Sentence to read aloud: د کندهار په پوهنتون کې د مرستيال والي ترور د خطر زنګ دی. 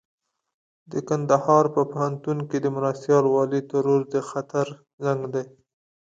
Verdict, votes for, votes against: accepted, 2, 0